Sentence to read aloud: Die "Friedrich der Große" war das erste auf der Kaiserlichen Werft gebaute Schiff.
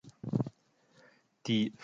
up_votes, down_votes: 0, 2